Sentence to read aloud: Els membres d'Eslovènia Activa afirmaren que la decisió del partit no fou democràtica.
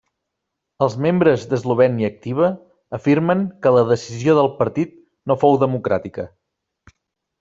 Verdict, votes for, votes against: rejected, 0, 2